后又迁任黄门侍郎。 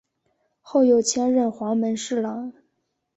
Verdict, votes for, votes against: accepted, 2, 0